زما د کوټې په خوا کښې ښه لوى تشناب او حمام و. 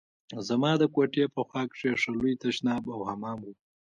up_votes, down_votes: 2, 1